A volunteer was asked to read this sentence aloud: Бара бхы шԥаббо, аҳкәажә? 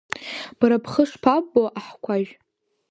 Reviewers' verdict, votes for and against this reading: rejected, 0, 2